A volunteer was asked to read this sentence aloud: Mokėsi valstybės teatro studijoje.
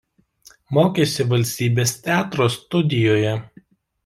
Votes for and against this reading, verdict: 2, 0, accepted